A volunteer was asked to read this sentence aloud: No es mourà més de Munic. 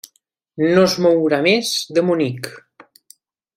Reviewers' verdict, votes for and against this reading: accepted, 3, 0